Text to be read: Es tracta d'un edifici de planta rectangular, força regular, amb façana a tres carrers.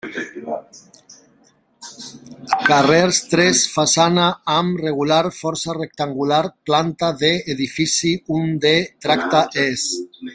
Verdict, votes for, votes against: rejected, 0, 2